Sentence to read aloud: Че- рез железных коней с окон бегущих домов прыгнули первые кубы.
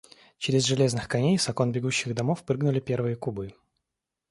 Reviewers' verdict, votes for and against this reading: accepted, 2, 0